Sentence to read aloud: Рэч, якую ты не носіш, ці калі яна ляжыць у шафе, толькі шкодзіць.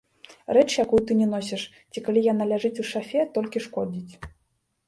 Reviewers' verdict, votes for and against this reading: rejected, 0, 2